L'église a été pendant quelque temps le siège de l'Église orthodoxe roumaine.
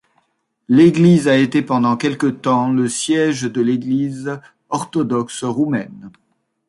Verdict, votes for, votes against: accepted, 2, 0